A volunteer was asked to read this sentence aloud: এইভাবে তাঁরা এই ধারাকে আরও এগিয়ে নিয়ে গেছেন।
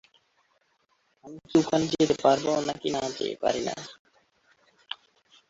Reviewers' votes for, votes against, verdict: 0, 2, rejected